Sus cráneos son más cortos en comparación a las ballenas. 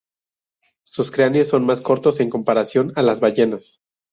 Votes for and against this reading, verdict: 0, 2, rejected